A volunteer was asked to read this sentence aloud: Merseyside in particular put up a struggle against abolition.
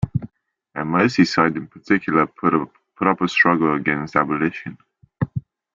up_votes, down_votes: 0, 2